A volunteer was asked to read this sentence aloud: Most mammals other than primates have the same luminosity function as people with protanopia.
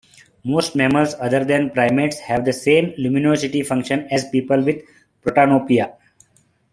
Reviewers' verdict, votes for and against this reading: accepted, 2, 0